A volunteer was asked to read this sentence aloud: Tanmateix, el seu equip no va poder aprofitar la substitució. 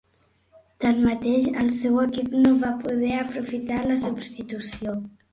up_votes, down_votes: 3, 0